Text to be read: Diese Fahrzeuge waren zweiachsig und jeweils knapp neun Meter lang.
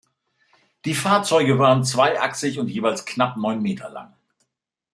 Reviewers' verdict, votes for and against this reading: rejected, 0, 2